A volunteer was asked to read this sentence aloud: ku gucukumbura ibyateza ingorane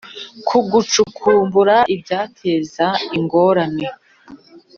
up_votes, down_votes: 2, 0